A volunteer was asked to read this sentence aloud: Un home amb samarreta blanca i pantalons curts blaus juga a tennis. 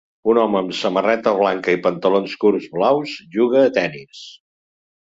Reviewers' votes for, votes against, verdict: 3, 0, accepted